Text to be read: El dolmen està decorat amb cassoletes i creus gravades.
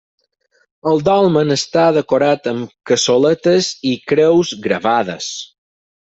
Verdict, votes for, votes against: accepted, 6, 0